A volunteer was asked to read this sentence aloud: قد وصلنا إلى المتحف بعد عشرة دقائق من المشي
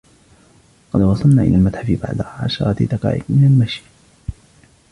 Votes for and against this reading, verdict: 0, 3, rejected